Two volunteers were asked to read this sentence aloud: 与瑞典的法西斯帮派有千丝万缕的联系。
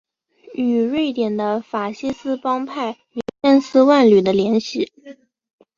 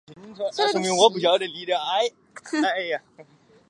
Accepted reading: first